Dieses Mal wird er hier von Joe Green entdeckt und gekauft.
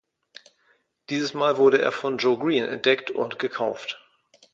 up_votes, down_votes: 0, 2